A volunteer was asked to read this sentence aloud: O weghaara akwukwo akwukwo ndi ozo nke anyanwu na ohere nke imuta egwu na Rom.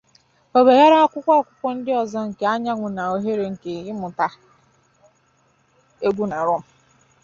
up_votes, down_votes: 0, 2